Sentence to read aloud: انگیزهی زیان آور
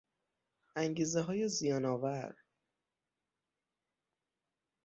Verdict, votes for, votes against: rejected, 3, 6